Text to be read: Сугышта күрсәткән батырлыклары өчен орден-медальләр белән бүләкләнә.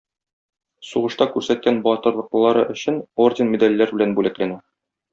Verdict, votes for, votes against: rejected, 0, 2